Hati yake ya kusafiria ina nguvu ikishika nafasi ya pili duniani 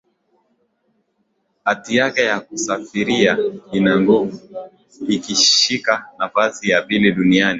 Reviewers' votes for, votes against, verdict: 2, 0, accepted